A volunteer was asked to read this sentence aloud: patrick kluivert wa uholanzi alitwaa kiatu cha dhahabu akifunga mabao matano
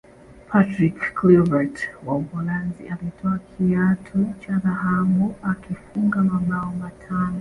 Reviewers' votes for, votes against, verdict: 2, 0, accepted